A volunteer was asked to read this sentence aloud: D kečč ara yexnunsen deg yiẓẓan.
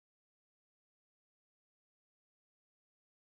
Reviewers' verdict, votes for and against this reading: rejected, 0, 2